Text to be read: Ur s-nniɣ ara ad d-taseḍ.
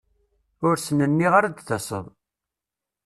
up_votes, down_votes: 0, 2